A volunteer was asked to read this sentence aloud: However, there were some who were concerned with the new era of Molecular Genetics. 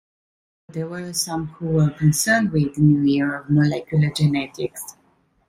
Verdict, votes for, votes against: rejected, 0, 2